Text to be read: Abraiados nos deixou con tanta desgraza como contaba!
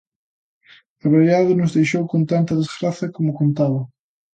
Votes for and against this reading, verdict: 2, 0, accepted